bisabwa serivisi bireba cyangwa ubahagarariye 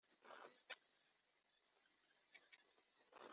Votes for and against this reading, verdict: 1, 2, rejected